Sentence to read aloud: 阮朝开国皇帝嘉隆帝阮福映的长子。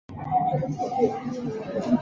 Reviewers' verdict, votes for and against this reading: rejected, 0, 2